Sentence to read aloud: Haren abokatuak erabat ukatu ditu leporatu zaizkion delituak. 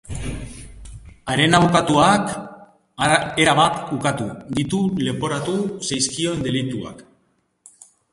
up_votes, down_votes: 0, 2